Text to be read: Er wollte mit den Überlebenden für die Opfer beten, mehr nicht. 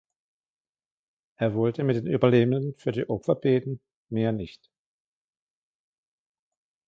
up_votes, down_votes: 2, 1